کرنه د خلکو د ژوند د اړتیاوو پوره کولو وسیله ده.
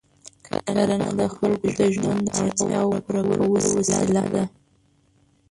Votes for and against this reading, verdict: 1, 2, rejected